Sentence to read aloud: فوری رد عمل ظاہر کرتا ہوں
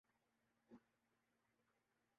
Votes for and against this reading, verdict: 0, 3, rejected